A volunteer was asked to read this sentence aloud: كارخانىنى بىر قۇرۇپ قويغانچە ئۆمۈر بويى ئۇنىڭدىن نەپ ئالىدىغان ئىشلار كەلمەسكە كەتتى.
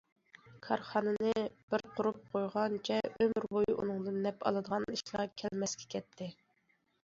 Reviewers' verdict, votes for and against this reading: accepted, 2, 0